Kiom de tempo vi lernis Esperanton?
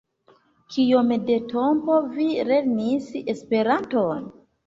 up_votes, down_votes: 1, 2